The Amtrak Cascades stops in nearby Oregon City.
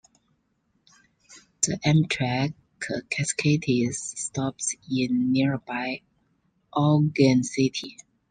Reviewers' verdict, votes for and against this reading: rejected, 1, 2